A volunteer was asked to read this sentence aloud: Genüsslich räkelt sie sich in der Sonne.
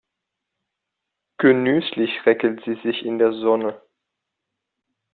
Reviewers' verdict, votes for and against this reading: accepted, 2, 0